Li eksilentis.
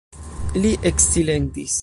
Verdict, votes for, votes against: accepted, 2, 0